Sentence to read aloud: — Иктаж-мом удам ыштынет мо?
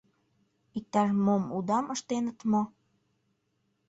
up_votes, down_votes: 1, 2